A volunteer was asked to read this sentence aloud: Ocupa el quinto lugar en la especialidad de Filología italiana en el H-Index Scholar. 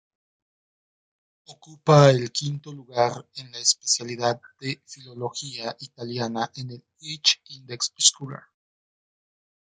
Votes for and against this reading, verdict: 0, 2, rejected